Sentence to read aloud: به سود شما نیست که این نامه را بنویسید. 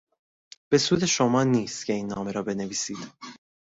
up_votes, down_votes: 2, 0